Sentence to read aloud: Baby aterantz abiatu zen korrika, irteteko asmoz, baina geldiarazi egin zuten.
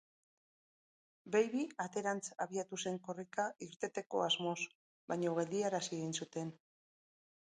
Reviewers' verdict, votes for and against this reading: rejected, 0, 2